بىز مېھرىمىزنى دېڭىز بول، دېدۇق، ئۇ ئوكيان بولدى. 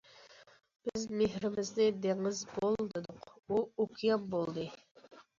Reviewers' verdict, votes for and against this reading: accepted, 2, 0